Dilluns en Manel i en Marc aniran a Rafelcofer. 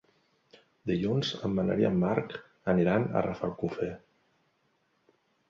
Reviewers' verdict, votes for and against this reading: accepted, 2, 0